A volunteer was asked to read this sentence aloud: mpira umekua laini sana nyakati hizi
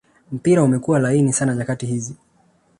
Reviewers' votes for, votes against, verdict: 2, 1, accepted